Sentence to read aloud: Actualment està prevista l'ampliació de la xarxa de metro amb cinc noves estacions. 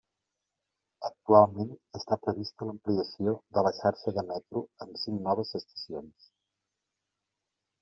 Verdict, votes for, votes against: accepted, 2, 0